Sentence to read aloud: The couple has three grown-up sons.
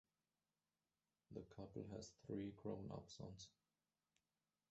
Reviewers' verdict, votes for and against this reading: rejected, 0, 2